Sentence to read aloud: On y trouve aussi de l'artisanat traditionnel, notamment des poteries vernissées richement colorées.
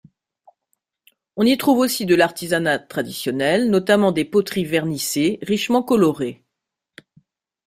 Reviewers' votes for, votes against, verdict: 2, 0, accepted